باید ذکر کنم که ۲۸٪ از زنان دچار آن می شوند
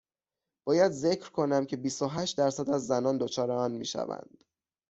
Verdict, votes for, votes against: rejected, 0, 2